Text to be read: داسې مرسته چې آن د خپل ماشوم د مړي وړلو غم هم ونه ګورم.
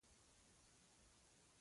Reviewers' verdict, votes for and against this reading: rejected, 0, 2